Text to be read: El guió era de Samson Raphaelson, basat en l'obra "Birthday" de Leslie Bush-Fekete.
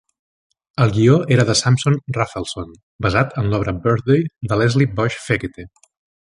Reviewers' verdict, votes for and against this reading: accepted, 2, 0